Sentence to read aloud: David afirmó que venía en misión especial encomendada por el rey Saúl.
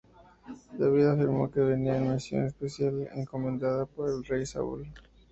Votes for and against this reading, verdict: 0, 2, rejected